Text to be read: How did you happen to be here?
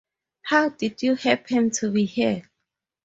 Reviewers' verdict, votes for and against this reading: accepted, 2, 0